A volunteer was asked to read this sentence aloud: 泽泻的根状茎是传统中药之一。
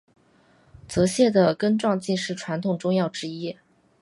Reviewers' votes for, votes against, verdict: 2, 0, accepted